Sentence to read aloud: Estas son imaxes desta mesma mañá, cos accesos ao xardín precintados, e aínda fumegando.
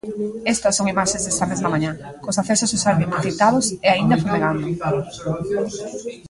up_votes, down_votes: 1, 2